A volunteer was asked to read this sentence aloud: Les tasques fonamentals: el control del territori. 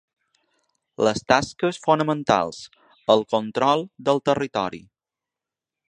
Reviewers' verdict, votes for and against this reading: accepted, 3, 0